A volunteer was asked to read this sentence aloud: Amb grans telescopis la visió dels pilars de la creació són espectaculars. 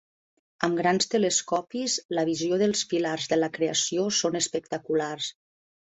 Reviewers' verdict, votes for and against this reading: accepted, 2, 0